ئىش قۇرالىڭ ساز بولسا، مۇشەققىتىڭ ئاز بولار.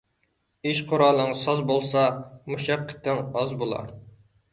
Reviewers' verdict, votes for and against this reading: accepted, 2, 0